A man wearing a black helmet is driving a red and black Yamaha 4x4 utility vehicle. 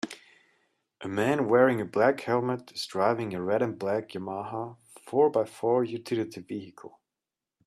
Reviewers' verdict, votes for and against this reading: rejected, 0, 2